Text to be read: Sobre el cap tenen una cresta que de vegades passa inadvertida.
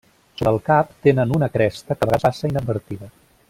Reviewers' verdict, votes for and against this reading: rejected, 0, 2